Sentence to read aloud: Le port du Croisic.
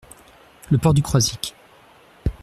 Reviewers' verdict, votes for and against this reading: accepted, 2, 0